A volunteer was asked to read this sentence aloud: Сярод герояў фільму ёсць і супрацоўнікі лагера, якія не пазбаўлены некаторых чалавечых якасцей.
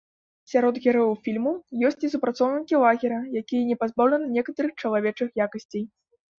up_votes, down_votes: 1, 3